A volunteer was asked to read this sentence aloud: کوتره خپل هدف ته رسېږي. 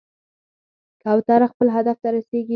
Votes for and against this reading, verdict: 4, 2, accepted